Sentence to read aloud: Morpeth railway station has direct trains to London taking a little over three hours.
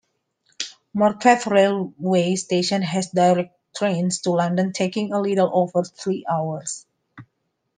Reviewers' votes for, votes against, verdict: 2, 1, accepted